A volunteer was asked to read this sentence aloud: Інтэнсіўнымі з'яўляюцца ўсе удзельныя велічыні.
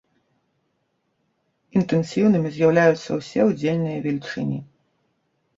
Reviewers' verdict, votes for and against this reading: accepted, 2, 0